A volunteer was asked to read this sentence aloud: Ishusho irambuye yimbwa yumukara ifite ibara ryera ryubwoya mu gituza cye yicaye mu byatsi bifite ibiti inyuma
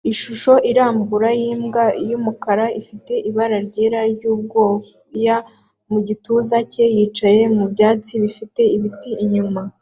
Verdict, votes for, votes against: accepted, 2, 0